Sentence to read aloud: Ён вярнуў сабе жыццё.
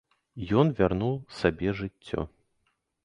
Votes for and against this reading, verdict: 3, 0, accepted